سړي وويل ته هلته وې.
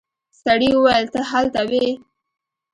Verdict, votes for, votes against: accepted, 2, 0